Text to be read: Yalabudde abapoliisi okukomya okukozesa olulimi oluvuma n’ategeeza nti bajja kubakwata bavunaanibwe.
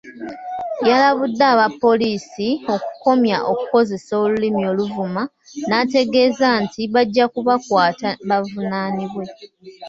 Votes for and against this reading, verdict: 0, 2, rejected